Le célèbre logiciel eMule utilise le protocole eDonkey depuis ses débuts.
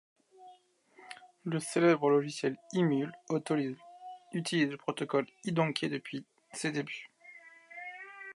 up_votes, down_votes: 1, 2